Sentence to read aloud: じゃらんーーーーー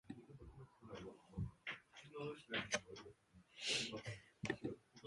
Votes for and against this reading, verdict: 0, 2, rejected